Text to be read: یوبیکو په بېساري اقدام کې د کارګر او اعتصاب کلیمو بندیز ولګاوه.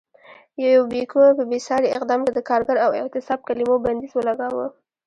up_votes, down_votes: 1, 2